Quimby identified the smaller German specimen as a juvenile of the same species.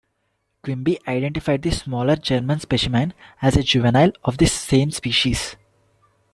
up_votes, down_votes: 0, 2